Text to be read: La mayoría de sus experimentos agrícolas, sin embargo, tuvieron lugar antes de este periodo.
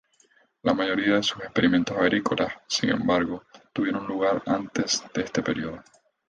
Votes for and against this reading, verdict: 2, 2, rejected